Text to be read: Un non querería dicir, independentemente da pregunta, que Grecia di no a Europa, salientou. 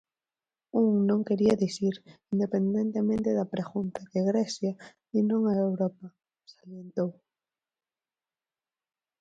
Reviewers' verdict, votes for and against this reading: rejected, 0, 4